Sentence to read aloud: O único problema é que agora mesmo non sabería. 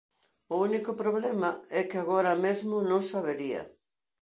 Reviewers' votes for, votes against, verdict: 2, 0, accepted